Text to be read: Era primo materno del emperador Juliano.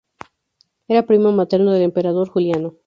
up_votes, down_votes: 0, 2